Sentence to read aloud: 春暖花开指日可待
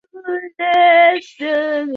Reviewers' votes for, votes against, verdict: 0, 2, rejected